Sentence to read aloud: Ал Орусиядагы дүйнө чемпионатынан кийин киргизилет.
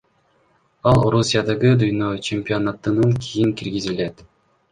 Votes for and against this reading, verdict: 2, 1, accepted